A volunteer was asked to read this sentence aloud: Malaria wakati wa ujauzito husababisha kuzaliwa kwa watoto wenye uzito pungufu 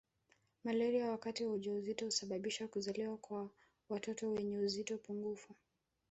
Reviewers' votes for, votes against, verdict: 0, 2, rejected